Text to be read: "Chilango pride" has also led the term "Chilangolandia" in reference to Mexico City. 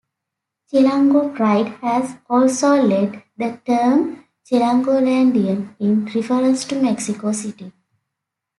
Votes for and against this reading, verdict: 2, 0, accepted